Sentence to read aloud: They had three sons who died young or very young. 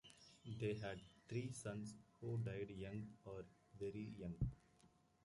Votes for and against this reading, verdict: 0, 2, rejected